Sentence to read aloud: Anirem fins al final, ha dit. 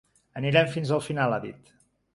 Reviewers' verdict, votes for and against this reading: accepted, 3, 0